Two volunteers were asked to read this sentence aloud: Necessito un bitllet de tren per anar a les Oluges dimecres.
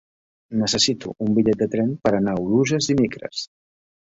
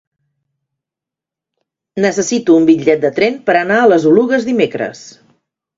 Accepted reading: second